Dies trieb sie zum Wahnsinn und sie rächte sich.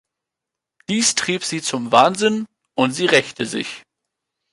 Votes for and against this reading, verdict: 2, 0, accepted